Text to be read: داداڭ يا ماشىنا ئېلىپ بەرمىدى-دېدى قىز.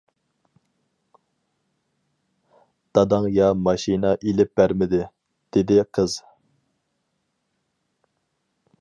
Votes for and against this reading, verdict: 4, 0, accepted